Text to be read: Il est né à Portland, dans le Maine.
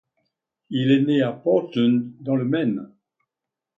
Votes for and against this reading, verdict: 3, 0, accepted